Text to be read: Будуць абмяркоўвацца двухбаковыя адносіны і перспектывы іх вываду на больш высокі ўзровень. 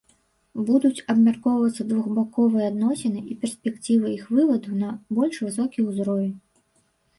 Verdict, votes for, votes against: rejected, 0, 2